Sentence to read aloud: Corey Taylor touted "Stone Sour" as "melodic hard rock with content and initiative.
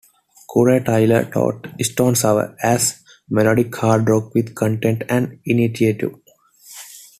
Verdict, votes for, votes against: accepted, 2, 1